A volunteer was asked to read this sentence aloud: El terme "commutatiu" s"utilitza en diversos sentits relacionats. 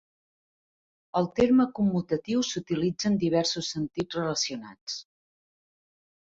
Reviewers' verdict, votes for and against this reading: accepted, 3, 0